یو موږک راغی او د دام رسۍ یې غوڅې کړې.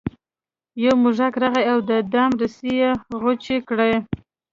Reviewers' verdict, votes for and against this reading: accepted, 2, 0